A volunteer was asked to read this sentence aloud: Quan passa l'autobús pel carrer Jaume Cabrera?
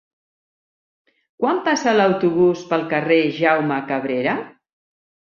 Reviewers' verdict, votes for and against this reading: accepted, 5, 0